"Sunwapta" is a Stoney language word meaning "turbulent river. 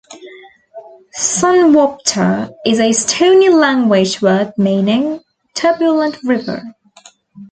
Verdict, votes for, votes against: accepted, 2, 0